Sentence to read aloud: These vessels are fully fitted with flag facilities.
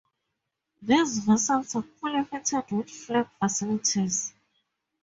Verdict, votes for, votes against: rejected, 0, 2